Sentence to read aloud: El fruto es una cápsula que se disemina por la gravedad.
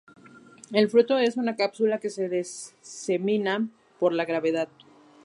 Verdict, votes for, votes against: rejected, 0, 2